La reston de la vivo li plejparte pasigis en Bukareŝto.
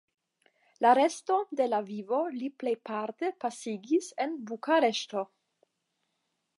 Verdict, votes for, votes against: rejected, 5, 5